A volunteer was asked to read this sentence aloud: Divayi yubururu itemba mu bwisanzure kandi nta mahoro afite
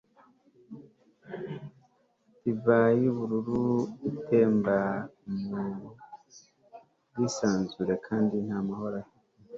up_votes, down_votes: 1, 2